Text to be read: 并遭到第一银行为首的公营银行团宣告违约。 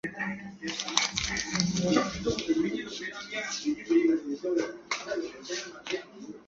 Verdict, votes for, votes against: rejected, 0, 6